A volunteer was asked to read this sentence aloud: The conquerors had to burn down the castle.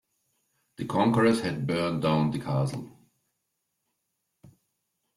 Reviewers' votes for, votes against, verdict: 0, 2, rejected